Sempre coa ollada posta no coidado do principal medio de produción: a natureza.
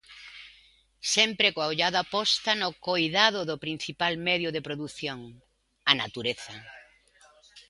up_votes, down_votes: 2, 1